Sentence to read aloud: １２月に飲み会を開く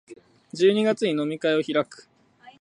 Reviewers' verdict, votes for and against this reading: rejected, 0, 2